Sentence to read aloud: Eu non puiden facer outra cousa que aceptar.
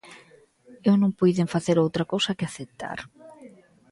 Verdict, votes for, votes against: accepted, 2, 0